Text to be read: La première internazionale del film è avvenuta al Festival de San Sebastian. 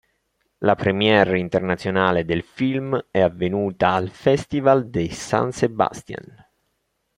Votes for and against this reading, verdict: 2, 1, accepted